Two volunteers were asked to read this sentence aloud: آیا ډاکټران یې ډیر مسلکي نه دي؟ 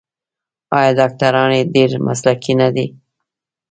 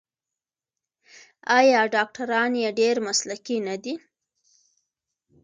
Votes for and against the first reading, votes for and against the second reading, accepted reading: 0, 2, 2, 0, second